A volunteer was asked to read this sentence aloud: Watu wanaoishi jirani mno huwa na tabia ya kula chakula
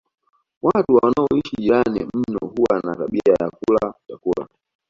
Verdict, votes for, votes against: accepted, 2, 1